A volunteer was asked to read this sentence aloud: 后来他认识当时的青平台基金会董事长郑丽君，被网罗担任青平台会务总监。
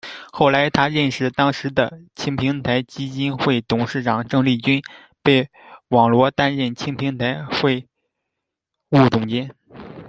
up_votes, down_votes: 1, 2